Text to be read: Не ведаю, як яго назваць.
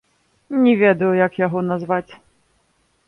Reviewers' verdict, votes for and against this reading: rejected, 0, 2